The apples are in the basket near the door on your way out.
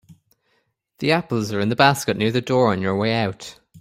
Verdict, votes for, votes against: accepted, 2, 0